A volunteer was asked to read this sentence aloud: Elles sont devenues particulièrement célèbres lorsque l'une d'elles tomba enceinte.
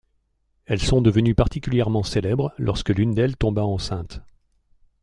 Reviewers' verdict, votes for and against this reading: accepted, 2, 0